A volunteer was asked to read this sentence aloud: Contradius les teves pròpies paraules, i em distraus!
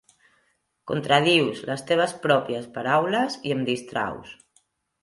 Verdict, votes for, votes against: accepted, 3, 0